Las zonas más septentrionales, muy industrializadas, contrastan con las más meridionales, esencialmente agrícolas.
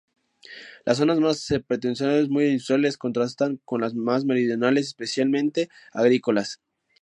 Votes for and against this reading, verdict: 0, 2, rejected